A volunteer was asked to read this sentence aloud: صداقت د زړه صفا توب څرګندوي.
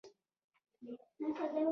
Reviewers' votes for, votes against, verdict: 0, 2, rejected